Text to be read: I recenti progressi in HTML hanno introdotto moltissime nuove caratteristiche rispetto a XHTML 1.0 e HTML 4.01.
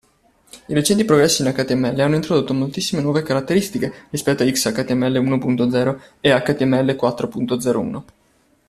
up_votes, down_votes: 0, 2